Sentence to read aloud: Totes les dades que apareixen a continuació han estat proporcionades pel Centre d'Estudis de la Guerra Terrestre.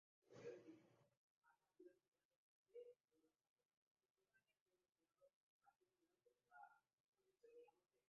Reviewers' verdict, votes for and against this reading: rejected, 0, 2